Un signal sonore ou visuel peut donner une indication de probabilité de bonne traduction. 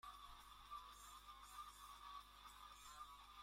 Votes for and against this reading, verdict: 0, 2, rejected